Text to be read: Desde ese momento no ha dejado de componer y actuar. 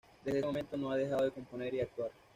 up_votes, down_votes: 1, 2